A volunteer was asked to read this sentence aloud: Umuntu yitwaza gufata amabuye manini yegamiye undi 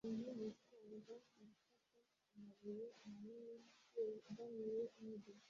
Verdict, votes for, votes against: rejected, 0, 2